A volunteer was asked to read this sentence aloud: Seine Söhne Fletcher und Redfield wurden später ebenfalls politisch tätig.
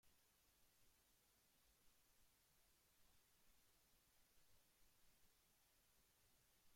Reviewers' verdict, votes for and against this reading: rejected, 0, 2